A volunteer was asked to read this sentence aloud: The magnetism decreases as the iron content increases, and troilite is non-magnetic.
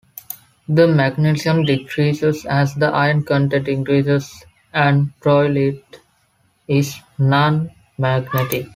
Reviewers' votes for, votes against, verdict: 2, 1, accepted